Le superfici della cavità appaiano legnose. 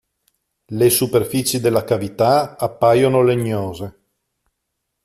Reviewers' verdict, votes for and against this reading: rejected, 0, 2